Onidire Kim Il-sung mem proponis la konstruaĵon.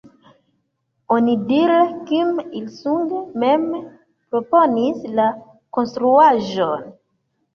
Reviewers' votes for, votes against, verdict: 0, 2, rejected